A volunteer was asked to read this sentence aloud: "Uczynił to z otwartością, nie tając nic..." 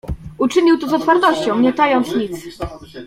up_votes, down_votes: 1, 2